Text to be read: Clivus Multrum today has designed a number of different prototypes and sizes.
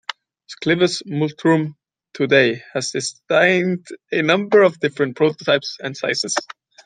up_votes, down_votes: 2, 0